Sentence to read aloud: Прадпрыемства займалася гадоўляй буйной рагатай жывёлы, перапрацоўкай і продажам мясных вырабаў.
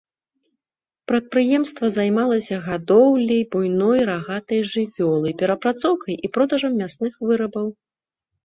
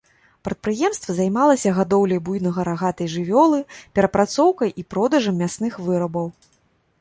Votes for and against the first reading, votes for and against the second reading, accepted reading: 2, 0, 1, 3, first